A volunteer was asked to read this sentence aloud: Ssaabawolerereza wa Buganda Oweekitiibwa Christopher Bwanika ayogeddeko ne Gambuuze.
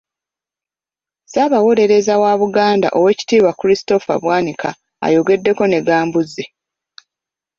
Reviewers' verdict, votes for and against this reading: rejected, 0, 2